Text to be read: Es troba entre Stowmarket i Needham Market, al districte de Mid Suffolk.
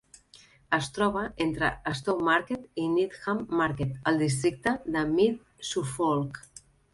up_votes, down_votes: 2, 0